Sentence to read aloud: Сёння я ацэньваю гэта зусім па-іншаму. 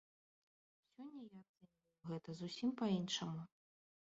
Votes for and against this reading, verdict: 0, 2, rejected